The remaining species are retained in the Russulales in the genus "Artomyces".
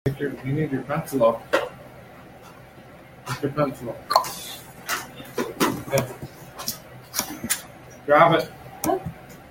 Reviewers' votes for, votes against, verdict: 0, 2, rejected